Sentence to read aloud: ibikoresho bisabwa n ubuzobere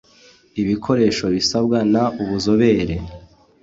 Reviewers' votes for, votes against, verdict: 2, 0, accepted